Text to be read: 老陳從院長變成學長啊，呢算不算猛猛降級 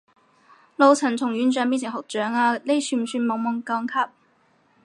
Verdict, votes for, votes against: rejected, 0, 2